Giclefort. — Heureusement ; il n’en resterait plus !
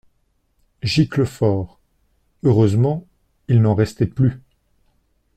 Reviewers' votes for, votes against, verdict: 0, 2, rejected